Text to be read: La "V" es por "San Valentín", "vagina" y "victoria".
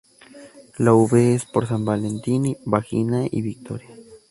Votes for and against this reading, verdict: 0, 2, rejected